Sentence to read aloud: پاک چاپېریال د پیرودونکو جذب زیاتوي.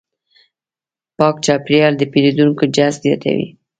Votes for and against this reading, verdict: 2, 0, accepted